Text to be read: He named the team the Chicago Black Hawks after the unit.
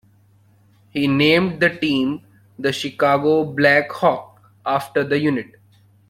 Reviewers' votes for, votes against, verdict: 0, 2, rejected